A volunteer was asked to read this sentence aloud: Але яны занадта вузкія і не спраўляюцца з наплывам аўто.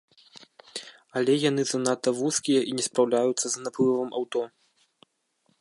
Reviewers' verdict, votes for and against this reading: accepted, 2, 0